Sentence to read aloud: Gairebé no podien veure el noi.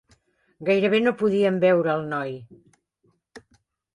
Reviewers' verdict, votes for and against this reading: accepted, 4, 0